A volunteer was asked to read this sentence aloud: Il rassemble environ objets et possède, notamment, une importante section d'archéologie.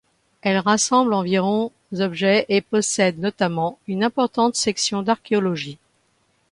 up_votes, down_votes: 0, 2